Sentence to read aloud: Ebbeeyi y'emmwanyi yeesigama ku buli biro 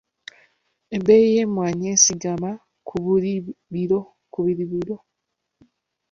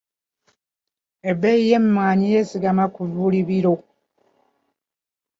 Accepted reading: second